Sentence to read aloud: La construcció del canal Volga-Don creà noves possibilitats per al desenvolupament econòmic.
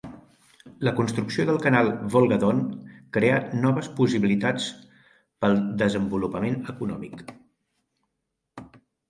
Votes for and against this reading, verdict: 1, 2, rejected